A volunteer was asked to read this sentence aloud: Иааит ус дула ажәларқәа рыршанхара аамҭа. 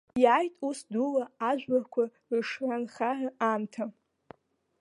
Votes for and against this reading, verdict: 0, 2, rejected